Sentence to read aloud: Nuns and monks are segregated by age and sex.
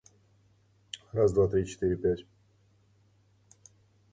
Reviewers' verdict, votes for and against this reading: rejected, 0, 2